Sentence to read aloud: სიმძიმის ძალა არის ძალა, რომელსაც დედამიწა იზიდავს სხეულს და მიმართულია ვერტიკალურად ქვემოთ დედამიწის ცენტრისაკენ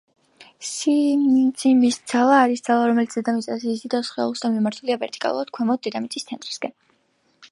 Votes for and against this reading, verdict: 0, 2, rejected